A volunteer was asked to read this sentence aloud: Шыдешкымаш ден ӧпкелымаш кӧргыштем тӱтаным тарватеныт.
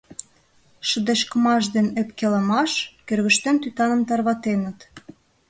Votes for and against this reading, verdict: 2, 0, accepted